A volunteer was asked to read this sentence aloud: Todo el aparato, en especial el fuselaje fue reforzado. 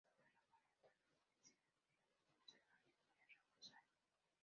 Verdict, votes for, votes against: rejected, 0, 2